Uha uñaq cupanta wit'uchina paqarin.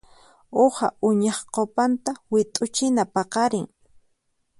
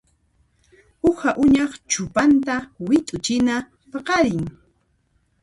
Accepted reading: first